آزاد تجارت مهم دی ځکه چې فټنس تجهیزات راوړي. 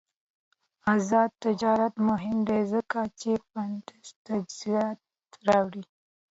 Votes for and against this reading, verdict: 2, 0, accepted